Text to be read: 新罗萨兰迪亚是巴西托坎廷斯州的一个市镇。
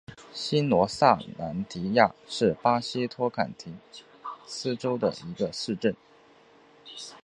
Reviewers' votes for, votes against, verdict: 2, 1, accepted